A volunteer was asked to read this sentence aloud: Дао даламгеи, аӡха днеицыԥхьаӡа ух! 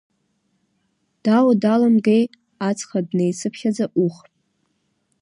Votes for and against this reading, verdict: 1, 2, rejected